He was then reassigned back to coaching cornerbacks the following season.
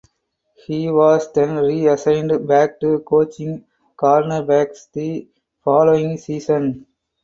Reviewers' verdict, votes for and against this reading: accepted, 6, 4